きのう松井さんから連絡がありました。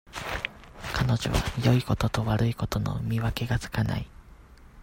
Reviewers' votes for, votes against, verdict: 0, 2, rejected